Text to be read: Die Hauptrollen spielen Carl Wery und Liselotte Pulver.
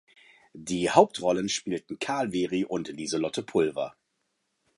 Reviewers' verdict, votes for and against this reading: rejected, 0, 2